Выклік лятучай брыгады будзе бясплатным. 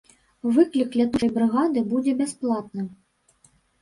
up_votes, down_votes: 2, 1